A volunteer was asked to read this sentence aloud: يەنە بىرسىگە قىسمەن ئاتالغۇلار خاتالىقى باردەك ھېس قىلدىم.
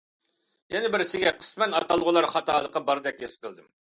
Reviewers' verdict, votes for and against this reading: accepted, 2, 0